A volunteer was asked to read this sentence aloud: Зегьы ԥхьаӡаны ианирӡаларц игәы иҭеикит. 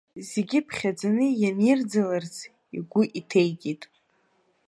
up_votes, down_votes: 2, 1